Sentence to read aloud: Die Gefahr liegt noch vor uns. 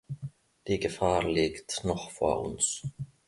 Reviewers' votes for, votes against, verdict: 2, 0, accepted